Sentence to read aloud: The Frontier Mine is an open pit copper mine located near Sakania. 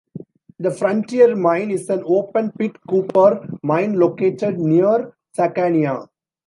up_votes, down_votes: 1, 2